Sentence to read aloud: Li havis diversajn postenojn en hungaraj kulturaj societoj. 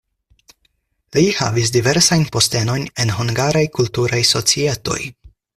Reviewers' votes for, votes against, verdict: 4, 0, accepted